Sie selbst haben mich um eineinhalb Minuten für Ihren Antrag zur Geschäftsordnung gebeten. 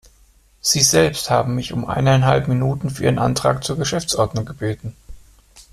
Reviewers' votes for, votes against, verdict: 2, 0, accepted